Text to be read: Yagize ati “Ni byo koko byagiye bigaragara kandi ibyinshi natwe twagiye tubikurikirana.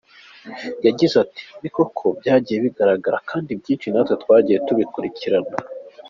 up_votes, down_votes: 3, 0